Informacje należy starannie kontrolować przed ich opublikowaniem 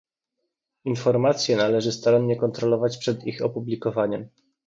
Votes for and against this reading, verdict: 2, 0, accepted